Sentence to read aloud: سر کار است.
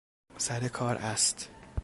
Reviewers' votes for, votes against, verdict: 3, 0, accepted